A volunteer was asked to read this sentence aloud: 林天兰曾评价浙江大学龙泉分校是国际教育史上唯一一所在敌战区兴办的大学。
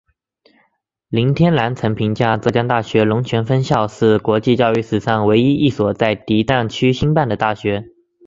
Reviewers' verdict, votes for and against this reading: accepted, 4, 0